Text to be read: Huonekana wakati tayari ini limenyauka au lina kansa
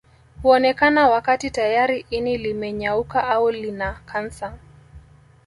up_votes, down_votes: 2, 0